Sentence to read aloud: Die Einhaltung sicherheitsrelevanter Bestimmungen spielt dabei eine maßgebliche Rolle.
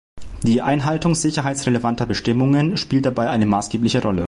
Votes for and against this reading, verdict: 2, 0, accepted